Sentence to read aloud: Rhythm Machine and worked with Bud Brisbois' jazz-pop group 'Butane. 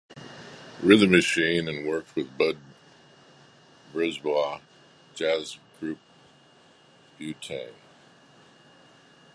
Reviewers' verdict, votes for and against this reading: rejected, 0, 2